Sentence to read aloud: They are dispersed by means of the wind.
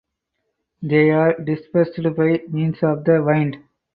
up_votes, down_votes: 0, 2